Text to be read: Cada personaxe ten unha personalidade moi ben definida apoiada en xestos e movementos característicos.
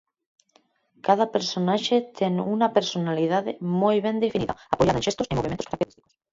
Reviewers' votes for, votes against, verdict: 0, 4, rejected